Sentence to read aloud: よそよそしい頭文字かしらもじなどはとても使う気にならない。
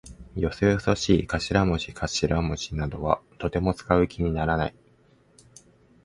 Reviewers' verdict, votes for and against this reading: accepted, 2, 0